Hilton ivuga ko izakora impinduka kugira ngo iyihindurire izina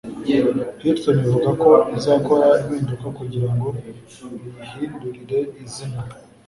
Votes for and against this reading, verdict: 2, 0, accepted